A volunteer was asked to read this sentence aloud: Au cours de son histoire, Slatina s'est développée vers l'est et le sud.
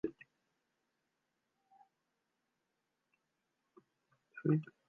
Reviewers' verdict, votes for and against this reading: rejected, 0, 2